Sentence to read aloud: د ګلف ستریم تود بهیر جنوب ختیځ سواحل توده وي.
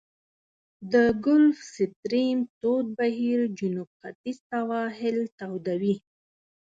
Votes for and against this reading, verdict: 4, 0, accepted